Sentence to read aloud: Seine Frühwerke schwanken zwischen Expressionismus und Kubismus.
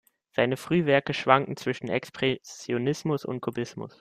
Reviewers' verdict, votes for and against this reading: rejected, 1, 2